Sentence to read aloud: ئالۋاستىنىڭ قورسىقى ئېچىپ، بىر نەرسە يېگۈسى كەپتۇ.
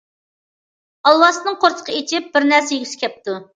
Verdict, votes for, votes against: accepted, 2, 0